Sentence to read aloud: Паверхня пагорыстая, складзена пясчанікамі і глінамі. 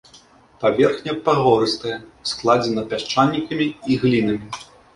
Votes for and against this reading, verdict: 1, 2, rejected